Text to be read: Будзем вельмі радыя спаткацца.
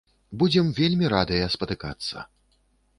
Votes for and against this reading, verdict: 0, 2, rejected